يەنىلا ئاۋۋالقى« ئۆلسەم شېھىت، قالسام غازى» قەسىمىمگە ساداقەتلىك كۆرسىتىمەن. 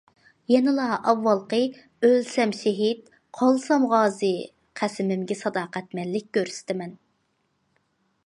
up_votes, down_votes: 0, 2